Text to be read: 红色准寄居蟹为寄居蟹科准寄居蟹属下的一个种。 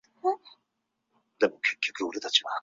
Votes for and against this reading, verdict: 1, 6, rejected